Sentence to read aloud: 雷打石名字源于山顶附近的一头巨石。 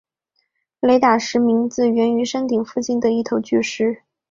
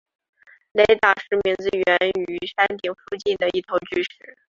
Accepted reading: first